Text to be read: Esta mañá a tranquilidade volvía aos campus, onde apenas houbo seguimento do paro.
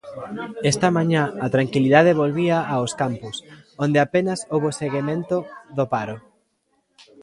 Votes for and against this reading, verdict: 1, 2, rejected